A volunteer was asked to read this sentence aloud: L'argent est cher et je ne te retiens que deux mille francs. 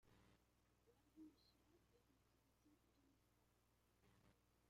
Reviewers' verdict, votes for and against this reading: rejected, 0, 2